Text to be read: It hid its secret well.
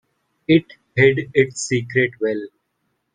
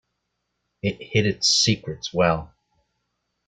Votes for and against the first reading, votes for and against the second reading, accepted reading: 2, 1, 1, 2, first